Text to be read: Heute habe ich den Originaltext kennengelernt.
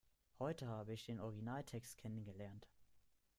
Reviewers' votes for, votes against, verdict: 2, 0, accepted